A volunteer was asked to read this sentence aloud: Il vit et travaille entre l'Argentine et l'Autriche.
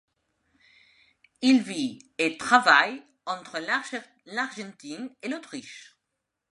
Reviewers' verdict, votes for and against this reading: rejected, 0, 2